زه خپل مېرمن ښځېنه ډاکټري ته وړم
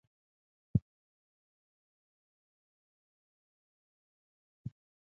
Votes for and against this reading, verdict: 1, 2, rejected